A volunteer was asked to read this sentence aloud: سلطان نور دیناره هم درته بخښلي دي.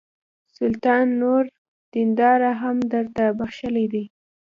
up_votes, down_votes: 0, 2